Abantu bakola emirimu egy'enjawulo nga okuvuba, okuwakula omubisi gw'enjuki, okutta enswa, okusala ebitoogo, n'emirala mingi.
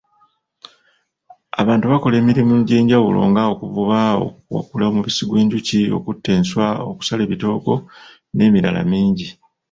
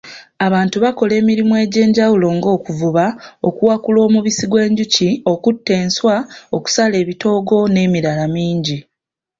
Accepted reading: second